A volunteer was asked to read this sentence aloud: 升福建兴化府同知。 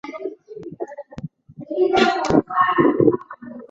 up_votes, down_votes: 0, 2